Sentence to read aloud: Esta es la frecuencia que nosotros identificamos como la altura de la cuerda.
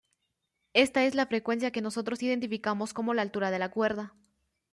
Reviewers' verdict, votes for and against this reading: accepted, 2, 0